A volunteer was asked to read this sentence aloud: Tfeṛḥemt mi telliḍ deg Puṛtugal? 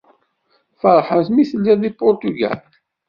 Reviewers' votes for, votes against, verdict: 1, 2, rejected